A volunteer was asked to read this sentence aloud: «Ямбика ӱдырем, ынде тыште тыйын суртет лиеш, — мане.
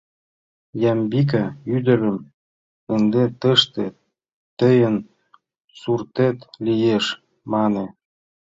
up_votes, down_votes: 1, 2